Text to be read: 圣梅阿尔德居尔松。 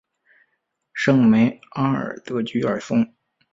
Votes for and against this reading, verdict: 6, 0, accepted